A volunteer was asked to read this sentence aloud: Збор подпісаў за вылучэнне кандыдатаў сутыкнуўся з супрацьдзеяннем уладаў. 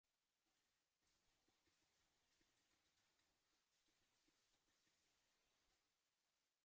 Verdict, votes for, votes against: rejected, 0, 2